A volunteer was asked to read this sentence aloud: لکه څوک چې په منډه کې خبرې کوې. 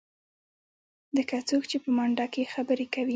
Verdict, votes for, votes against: accepted, 2, 1